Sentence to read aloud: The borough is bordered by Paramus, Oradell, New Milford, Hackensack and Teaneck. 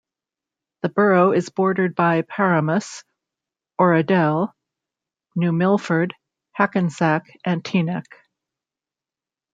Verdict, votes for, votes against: accepted, 2, 0